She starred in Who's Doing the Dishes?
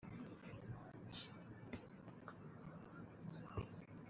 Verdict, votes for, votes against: rejected, 0, 2